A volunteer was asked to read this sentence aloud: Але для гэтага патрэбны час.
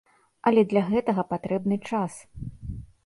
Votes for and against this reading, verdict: 2, 0, accepted